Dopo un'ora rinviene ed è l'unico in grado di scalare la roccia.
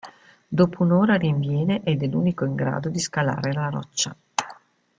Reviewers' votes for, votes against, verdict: 2, 0, accepted